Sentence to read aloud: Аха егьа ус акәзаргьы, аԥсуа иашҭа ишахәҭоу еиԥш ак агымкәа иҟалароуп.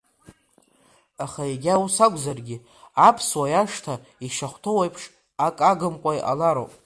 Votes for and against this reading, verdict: 2, 1, accepted